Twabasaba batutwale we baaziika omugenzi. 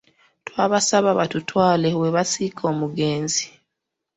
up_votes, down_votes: 0, 2